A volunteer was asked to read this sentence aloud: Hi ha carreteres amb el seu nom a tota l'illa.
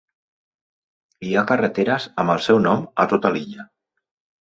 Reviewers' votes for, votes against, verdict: 3, 0, accepted